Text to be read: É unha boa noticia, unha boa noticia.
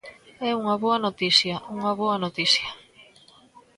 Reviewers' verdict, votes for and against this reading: rejected, 1, 2